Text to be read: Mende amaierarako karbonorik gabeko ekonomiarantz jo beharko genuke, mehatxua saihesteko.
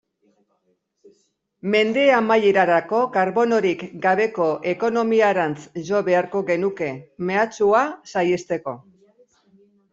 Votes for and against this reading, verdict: 2, 0, accepted